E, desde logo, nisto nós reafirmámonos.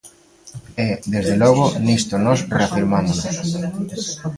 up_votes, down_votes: 1, 2